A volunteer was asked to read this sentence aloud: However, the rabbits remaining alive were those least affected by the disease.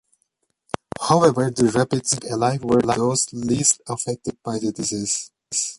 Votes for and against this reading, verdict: 1, 2, rejected